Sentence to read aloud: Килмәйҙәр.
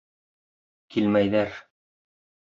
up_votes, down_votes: 2, 0